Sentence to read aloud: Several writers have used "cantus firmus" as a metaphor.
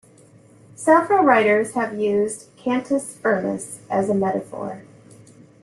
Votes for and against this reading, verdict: 2, 0, accepted